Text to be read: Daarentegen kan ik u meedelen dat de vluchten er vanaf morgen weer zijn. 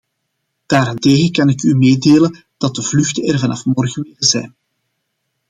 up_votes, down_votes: 0, 2